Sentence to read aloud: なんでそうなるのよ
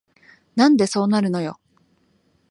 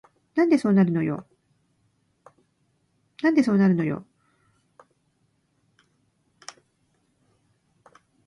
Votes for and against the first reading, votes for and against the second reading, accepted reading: 3, 0, 1, 2, first